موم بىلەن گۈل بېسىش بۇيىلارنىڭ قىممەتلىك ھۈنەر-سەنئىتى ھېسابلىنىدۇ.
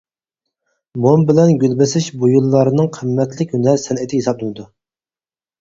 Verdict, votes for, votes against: rejected, 0, 2